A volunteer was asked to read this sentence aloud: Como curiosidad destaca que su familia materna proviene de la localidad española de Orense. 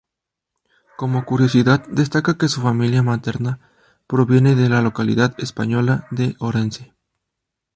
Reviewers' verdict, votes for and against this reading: accepted, 2, 0